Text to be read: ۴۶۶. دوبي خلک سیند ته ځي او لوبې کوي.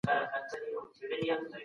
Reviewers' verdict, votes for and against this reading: rejected, 0, 2